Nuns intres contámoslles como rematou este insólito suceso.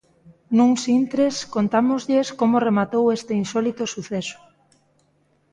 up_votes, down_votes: 2, 0